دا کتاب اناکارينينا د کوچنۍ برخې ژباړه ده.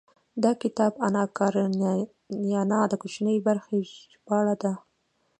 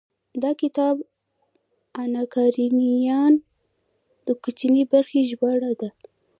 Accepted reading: second